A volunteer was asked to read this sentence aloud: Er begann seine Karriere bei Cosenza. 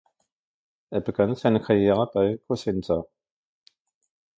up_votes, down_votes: 0, 2